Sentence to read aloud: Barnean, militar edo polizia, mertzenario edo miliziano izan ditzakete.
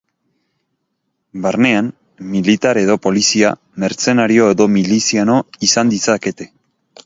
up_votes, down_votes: 2, 0